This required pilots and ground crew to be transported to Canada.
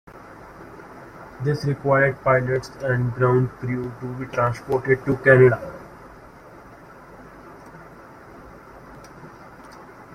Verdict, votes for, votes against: accepted, 2, 1